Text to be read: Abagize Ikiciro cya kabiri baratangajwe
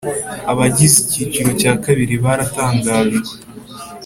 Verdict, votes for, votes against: accepted, 5, 0